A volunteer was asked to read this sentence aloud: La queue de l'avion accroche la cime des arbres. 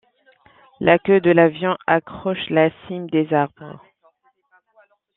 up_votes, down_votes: 2, 0